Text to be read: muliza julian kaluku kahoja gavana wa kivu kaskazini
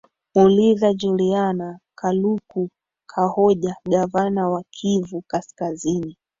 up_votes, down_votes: 1, 3